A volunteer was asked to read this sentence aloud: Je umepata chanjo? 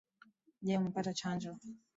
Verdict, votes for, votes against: accepted, 2, 0